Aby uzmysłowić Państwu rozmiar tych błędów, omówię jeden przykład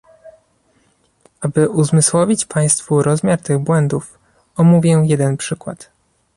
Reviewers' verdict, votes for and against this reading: accepted, 2, 0